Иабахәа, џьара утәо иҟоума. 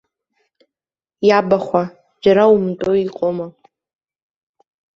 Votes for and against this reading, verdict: 0, 2, rejected